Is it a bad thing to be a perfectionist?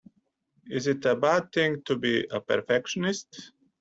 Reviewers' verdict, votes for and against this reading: accepted, 2, 0